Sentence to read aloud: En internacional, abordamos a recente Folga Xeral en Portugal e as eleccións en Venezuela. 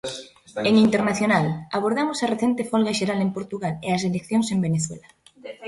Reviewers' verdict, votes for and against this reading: rejected, 0, 2